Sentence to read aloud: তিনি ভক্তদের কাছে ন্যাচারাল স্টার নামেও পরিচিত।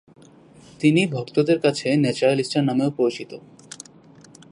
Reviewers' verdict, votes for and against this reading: rejected, 1, 2